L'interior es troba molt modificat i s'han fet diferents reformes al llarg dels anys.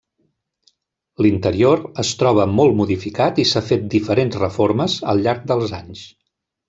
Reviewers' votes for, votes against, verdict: 1, 2, rejected